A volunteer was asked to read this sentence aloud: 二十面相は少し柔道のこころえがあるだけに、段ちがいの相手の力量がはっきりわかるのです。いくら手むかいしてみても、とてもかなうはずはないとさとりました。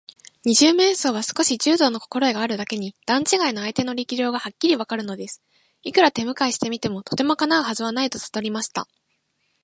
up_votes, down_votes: 2, 0